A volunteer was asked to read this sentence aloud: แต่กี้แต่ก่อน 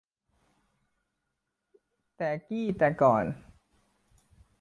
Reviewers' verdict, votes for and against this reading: accepted, 2, 0